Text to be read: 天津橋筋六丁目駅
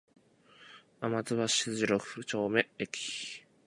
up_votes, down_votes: 0, 2